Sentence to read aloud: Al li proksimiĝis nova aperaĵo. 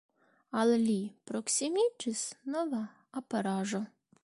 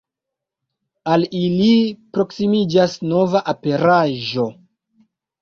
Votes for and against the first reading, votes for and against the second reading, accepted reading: 2, 1, 1, 2, first